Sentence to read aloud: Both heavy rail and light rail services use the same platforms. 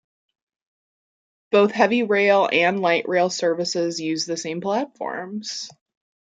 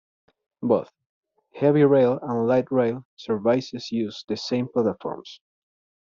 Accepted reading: first